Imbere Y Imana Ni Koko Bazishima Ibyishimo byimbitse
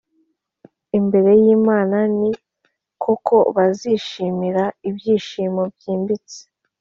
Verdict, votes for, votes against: accepted, 2, 0